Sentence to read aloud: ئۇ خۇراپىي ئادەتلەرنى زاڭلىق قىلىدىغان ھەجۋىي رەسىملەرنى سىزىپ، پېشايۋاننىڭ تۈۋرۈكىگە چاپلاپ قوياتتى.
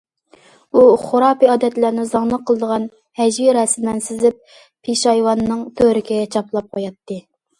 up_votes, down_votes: 2, 1